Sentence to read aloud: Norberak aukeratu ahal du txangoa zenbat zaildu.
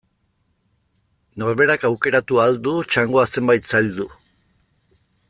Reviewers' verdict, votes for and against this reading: rejected, 1, 2